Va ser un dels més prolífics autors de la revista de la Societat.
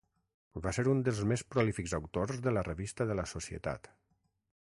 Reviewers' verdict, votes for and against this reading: accepted, 6, 0